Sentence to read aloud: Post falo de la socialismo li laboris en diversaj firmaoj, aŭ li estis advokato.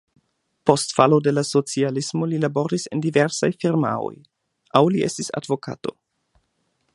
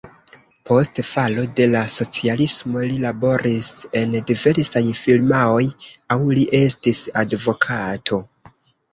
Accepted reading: first